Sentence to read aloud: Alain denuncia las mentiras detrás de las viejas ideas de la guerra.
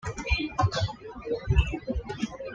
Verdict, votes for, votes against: rejected, 1, 2